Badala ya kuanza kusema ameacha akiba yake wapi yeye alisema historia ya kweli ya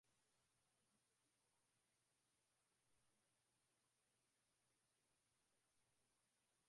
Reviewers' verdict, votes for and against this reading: rejected, 2, 10